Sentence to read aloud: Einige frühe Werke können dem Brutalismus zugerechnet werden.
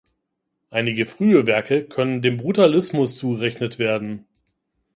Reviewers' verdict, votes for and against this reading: rejected, 1, 2